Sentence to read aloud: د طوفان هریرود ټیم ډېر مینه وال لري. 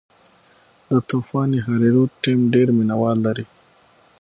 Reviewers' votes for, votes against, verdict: 6, 0, accepted